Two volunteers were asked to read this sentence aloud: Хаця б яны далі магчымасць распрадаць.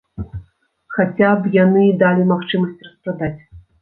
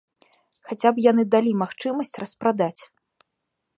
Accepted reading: second